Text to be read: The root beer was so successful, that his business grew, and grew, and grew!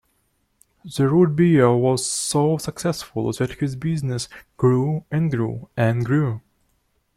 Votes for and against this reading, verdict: 2, 0, accepted